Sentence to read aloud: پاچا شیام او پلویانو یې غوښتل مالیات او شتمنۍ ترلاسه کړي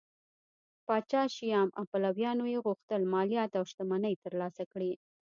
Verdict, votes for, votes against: accepted, 2, 0